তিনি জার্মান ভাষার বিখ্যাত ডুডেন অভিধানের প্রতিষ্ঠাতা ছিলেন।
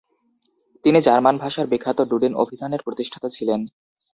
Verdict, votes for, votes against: rejected, 0, 2